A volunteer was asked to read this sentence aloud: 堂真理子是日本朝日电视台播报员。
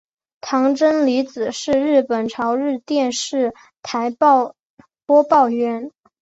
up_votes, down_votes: 1, 2